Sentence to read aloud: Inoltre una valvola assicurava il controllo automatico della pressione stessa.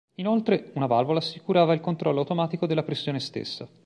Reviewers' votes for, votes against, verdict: 2, 0, accepted